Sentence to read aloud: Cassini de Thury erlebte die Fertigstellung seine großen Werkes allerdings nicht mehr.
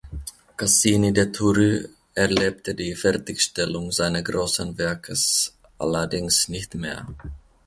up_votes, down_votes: 2, 1